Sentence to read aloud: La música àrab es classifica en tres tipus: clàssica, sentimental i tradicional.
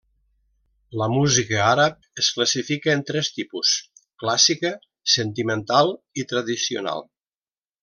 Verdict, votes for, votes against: accepted, 3, 0